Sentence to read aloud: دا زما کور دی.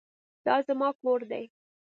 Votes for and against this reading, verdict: 2, 0, accepted